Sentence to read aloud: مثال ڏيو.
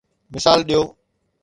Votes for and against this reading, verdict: 2, 0, accepted